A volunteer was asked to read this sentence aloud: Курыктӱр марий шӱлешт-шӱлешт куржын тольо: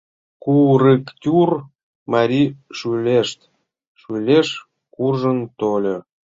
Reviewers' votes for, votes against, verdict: 0, 2, rejected